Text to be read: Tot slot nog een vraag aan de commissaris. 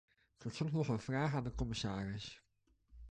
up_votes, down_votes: 1, 2